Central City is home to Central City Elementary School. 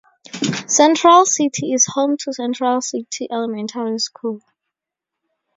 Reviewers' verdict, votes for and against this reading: accepted, 2, 0